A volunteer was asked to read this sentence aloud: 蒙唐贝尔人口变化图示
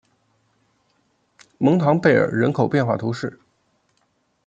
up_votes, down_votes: 2, 0